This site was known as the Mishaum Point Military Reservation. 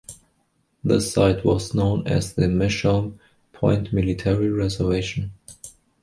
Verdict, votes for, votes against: accepted, 2, 1